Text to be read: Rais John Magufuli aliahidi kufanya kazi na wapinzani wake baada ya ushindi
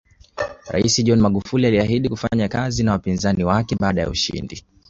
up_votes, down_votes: 2, 0